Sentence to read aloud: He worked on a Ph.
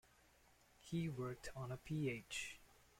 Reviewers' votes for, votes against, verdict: 2, 0, accepted